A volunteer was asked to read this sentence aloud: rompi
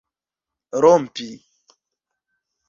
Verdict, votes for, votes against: accepted, 2, 0